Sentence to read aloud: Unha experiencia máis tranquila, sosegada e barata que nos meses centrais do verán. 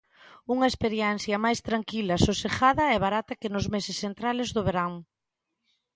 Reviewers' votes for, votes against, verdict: 0, 2, rejected